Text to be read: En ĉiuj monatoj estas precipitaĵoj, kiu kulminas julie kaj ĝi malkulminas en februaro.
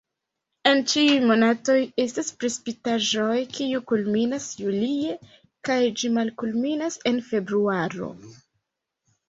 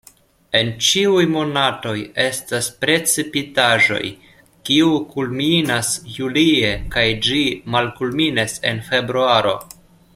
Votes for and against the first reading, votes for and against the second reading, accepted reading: 1, 2, 2, 0, second